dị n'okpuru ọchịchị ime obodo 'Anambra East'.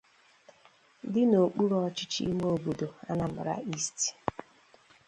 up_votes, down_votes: 2, 0